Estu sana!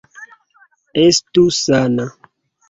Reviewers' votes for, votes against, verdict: 2, 0, accepted